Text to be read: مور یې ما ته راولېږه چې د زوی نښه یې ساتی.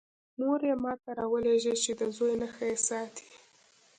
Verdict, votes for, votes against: accepted, 2, 0